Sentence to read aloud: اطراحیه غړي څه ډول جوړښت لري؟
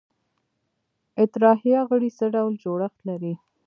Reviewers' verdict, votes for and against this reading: rejected, 0, 2